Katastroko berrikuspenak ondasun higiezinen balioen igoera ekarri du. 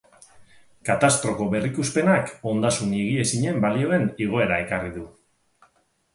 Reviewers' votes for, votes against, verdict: 6, 0, accepted